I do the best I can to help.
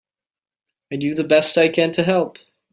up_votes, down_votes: 2, 0